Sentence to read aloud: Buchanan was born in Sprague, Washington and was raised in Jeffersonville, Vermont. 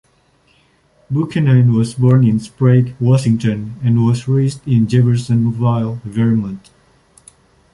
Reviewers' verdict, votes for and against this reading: rejected, 0, 2